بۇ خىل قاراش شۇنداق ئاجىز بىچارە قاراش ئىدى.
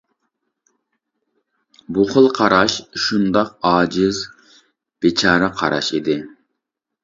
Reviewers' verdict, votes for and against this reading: accepted, 2, 0